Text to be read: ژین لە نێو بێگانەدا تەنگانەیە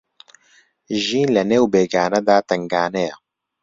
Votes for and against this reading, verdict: 2, 0, accepted